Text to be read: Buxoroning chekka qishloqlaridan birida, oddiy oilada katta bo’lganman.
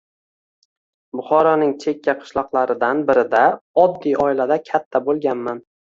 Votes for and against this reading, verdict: 2, 0, accepted